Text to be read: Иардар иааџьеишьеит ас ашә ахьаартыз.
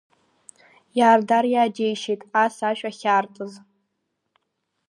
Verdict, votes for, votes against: accepted, 4, 0